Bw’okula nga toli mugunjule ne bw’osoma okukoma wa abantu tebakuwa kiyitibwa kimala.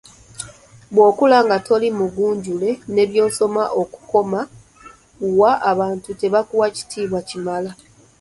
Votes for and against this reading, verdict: 2, 1, accepted